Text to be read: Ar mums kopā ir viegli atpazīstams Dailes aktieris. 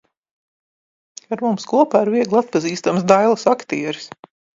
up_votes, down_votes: 2, 1